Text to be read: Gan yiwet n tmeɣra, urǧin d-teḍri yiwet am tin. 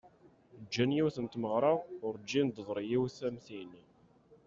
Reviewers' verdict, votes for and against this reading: rejected, 1, 2